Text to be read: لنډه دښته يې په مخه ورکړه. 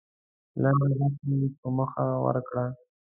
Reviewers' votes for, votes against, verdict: 0, 2, rejected